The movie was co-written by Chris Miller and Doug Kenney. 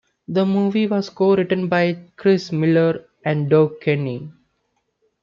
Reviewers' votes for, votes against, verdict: 2, 0, accepted